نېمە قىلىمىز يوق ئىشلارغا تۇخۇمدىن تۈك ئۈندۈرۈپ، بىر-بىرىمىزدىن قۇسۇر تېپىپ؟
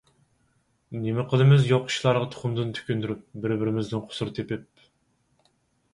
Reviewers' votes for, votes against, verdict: 4, 0, accepted